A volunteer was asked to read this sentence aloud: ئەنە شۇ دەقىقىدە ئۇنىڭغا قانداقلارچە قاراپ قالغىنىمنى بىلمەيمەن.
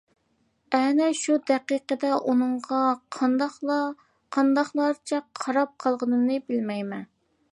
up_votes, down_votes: 0, 2